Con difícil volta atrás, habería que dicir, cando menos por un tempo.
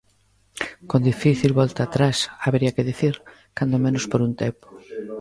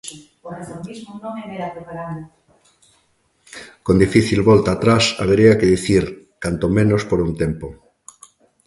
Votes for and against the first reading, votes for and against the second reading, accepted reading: 2, 0, 0, 2, first